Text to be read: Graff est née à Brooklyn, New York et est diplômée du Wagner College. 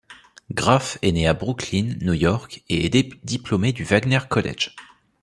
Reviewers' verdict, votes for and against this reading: rejected, 1, 2